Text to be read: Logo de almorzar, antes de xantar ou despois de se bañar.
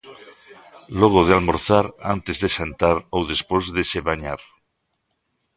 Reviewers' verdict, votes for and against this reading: rejected, 0, 2